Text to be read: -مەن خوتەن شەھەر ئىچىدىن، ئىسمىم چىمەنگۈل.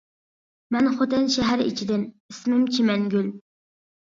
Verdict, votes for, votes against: accepted, 2, 0